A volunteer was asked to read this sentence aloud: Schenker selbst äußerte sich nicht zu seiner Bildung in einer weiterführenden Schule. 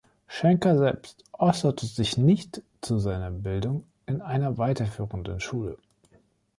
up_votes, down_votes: 2, 0